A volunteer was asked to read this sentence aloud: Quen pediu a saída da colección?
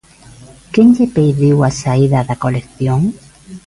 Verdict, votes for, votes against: rejected, 0, 2